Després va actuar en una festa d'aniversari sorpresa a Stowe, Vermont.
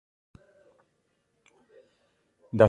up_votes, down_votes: 0, 2